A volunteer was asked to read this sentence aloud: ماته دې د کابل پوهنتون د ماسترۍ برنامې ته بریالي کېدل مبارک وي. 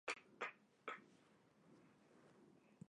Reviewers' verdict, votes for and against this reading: rejected, 1, 2